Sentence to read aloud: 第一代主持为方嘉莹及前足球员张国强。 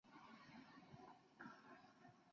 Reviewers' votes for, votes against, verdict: 5, 1, accepted